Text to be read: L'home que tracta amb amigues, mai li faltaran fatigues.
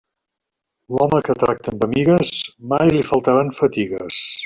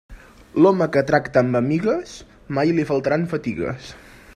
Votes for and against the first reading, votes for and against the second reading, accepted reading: 1, 2, 3, 0, second